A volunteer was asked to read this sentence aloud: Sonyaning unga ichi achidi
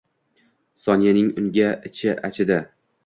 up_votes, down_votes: 2, 0